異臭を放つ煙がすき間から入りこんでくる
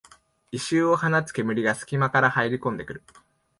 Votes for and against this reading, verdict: 2, 0, accepted